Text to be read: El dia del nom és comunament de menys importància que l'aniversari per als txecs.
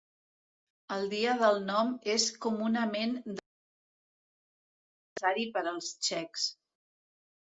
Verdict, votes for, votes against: rejected, 0, 2